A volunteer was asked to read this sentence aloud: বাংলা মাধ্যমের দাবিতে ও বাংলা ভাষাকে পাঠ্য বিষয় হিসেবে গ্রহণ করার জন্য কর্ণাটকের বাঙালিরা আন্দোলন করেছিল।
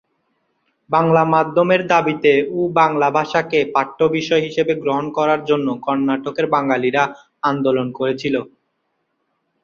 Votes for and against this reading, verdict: 0, 2, rejected